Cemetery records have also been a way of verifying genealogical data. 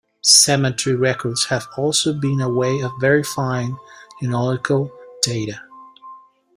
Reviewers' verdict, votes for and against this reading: rejected, 1, 2